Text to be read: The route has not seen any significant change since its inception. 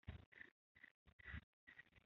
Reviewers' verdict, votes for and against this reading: rejected, 0, 2